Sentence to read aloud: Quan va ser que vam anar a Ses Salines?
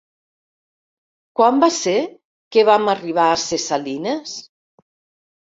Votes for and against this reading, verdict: 0, 2, rejected